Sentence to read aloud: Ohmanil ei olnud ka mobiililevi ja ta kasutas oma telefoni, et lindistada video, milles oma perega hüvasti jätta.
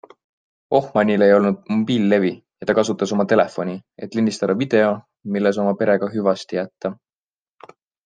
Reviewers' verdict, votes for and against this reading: accepted, 2, 1